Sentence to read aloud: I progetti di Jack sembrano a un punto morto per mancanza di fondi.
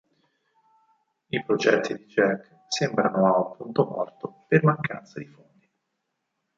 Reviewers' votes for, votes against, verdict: 2, 4, rejected